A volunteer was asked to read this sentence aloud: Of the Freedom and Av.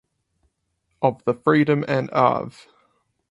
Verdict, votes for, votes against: rejected, 2, 2